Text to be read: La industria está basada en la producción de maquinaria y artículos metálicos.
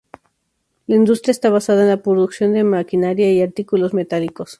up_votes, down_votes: 2, 0